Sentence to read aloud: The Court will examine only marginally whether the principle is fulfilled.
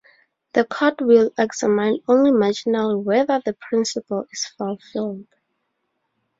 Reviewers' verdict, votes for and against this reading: rejected, 0, 2